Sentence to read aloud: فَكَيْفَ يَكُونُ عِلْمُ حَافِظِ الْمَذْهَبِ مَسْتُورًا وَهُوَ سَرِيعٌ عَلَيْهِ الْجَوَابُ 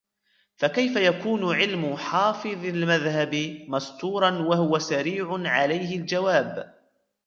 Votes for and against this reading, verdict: 1, 2, rejected